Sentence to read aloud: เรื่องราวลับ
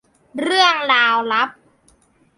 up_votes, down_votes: 2, 0